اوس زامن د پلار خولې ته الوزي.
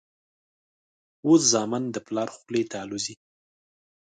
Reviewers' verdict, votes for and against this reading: accepted, 2, 0